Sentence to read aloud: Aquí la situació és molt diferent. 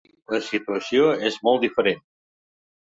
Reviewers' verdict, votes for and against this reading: rejected, 0, 2